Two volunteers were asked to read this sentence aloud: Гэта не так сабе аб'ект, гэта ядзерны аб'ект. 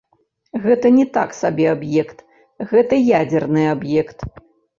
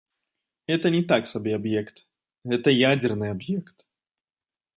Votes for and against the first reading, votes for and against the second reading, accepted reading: 1, 2, 2, 0, second